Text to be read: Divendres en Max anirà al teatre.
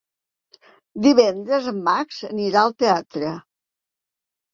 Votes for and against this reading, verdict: 3, 0, accepted